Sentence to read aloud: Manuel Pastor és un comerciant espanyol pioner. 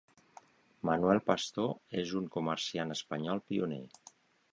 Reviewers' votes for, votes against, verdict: 2, 0, accepted